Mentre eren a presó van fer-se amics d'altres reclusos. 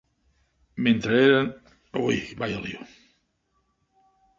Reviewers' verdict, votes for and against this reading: rejected, 0, 3